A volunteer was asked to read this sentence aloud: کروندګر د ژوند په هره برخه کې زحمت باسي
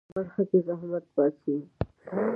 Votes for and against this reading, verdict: 0, 2, rejected